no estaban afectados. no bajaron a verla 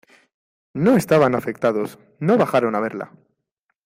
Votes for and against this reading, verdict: 2, 0, accepted